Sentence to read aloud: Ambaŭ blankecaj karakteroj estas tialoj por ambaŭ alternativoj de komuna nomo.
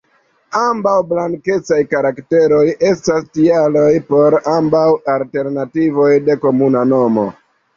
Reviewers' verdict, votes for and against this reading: accepted, 2, 1